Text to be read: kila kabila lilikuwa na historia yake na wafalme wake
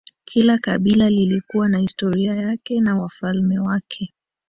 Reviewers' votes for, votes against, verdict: 1, 2, rejected